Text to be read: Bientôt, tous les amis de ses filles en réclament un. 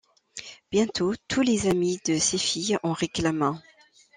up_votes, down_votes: 2, 0